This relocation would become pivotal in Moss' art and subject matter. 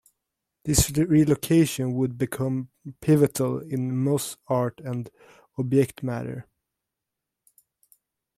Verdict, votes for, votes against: rejected, 1, 2